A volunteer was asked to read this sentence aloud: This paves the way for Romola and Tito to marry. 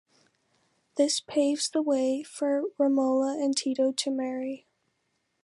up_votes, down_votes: 2, 0